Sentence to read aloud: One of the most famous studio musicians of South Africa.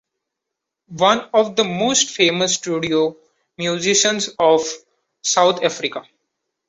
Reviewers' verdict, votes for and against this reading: accepted, 2, 0